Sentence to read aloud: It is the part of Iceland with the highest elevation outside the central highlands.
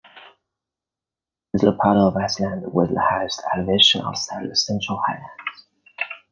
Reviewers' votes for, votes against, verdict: 1, 2, rejected